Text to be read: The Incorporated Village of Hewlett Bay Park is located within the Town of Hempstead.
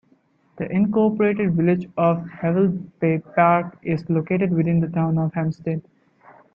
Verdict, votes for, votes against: rejected, 0, 2